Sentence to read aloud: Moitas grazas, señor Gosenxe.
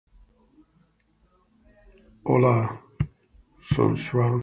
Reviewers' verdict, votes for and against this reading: rejected, 0, 2